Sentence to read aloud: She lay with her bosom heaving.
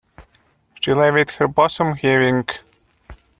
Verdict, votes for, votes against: rejected, 1, 2